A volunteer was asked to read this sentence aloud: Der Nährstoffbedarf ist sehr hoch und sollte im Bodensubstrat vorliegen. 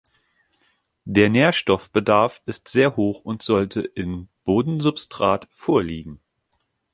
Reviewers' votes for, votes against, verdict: 2, 0, accepted